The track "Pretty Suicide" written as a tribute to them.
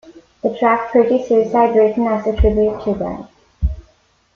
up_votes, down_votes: 2, 1